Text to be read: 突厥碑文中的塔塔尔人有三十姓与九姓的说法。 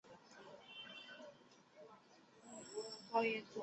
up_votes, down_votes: 1, 3